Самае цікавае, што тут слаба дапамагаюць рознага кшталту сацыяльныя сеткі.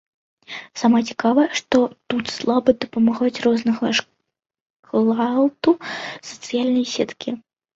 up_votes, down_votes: 1, 2